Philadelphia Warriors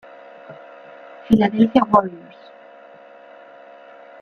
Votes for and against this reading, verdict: 0, 2, rejected